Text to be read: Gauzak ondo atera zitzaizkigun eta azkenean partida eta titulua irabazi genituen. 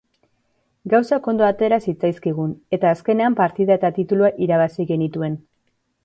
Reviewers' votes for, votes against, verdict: 2, 0, accepted